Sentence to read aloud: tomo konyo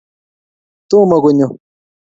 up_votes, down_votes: 2, 0